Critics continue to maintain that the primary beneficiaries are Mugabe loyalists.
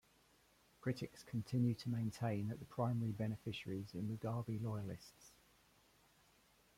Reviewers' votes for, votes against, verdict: 1, 2, rejected